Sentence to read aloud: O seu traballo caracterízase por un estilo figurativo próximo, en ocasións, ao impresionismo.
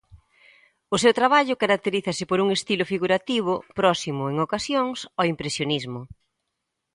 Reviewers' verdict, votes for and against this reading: accepted, 2, 0